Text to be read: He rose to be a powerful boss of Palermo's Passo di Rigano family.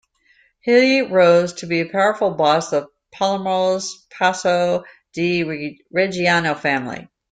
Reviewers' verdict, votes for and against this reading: rejected, 0, 2